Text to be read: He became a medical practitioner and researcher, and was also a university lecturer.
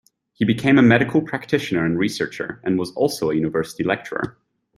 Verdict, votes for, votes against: accepted, 2, 0